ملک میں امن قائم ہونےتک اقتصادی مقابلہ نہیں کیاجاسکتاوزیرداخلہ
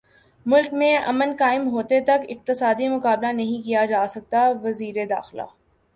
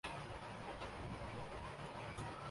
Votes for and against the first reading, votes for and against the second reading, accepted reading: 2, 0, 0, 2, first